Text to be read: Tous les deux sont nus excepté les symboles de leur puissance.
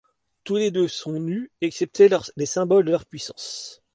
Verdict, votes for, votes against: rejected, 1, 2